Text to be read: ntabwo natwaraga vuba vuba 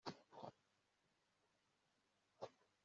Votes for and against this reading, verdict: 2, 1, accepted